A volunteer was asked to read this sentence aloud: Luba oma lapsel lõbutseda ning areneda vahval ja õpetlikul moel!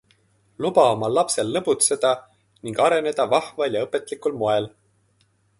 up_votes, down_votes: 3, 0